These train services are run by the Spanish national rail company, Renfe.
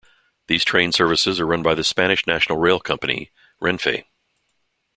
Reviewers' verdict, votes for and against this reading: accepted, 2, 0